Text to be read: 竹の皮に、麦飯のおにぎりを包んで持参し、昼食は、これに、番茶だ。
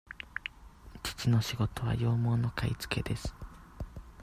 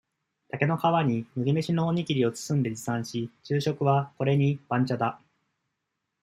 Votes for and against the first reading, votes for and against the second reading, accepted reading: 0, 2, 2, 0, second